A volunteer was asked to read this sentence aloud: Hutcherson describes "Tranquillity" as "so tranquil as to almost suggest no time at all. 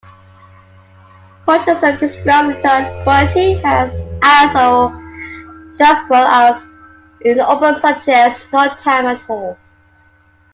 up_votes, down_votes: 0, 2